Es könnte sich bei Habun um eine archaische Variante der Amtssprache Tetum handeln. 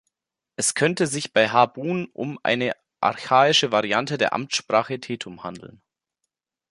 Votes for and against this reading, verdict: 2, 0, accepted